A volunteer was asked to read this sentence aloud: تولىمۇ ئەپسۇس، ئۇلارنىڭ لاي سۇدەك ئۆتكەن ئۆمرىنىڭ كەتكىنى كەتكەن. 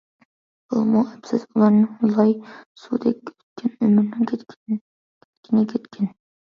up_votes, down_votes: 0, 2